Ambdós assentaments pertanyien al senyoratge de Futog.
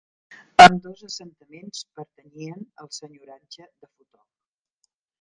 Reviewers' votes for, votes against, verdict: 0, 2, rejected